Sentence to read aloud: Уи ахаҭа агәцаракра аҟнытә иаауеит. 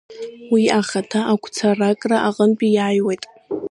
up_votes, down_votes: 0, 2